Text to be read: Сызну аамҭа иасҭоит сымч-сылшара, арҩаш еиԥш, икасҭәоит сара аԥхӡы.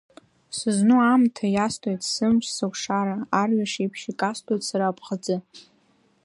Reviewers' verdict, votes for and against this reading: rejected, 1, 2